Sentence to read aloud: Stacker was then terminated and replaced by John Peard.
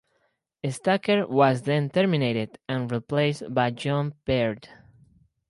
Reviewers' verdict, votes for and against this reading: accepted, 4, 0